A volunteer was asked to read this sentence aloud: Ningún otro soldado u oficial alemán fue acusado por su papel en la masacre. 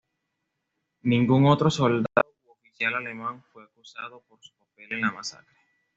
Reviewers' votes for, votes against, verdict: 2, 1, accepted